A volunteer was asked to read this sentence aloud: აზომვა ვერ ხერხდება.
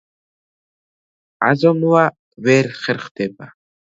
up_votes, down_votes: 2, 0